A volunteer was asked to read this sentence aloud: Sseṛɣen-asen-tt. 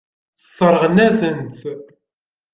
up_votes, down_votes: 2, 0